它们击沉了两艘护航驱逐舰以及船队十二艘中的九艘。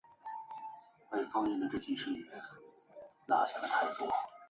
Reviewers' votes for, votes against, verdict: 0, 2, rejected